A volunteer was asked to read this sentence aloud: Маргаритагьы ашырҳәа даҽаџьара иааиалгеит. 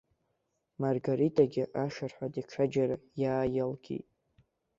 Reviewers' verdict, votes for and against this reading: rejected, 2, 3